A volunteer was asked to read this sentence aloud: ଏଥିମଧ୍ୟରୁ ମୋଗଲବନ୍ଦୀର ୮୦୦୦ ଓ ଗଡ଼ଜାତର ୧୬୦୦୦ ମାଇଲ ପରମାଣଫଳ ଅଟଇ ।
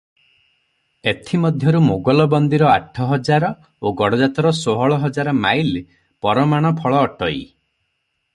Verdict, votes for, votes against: rejected, 0, 2